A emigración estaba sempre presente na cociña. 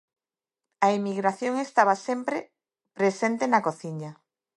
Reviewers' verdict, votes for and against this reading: rejected, 0, 2